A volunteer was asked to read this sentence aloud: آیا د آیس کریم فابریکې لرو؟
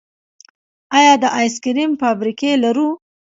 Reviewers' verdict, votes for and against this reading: accepted, 2, 0